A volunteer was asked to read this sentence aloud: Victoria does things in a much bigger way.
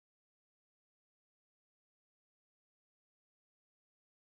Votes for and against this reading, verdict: 0, 4, rejected